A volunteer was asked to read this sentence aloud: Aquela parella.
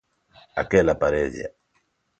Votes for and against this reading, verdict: 2, 0, accepted